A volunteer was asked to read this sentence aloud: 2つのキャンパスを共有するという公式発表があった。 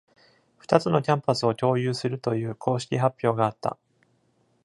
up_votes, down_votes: 0, 2